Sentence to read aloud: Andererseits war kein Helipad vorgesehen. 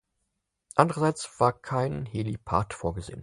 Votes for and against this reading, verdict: 6, 2, accepted